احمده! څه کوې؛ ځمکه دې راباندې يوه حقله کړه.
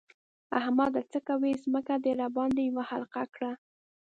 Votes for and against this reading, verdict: 2, 0, accepted